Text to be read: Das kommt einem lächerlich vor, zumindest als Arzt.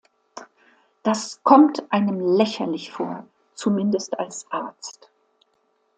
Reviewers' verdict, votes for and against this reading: accepted, 2, 0